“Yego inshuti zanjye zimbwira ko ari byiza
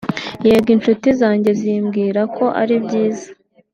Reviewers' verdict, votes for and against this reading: rejected, 0, 2